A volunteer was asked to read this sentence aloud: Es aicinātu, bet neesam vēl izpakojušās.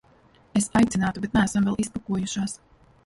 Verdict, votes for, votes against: rejected, 1, 2